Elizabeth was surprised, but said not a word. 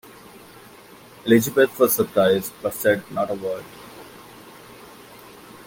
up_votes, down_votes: 2, 0